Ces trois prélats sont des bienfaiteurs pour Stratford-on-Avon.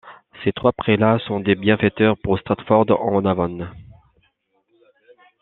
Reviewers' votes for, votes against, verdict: 2, 0, accepted